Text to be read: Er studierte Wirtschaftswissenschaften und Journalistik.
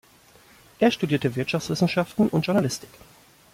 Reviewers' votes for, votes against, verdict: 2, 0, accepted